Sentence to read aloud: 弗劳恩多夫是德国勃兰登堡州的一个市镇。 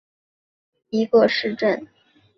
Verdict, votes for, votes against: rejected, 2, 3